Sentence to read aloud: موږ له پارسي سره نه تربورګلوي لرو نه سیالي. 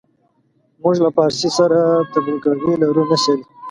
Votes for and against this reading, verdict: 0, 2, rejected